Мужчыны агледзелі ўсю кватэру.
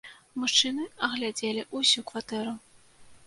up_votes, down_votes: 1, 2